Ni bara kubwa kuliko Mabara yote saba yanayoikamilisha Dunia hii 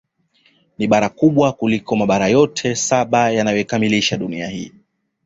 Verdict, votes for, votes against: accepted, 2, 0